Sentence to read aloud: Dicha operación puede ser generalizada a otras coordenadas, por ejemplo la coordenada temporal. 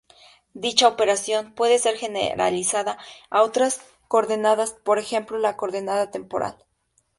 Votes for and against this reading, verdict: 2, 2, rejected